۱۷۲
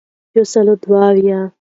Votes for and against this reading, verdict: 0, 2, rejected